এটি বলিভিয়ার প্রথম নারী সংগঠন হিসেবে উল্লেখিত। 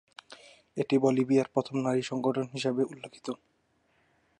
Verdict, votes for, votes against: accepted, 3, 0